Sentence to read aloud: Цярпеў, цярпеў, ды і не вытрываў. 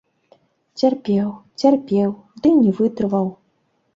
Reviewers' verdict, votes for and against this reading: rejected, 1, 2